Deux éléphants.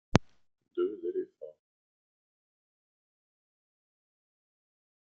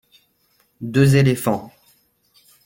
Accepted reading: second